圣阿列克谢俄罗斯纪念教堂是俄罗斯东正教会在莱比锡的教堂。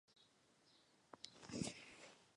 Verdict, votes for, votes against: rejected, 0, 2